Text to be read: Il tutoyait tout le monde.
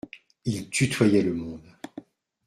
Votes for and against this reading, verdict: 0, 2, rejected